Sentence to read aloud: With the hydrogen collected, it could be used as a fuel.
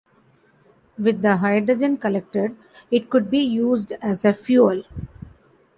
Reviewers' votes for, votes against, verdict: 2, 0, accepted